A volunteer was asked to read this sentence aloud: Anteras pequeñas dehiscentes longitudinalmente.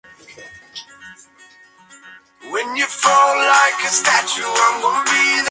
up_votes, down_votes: 0, 2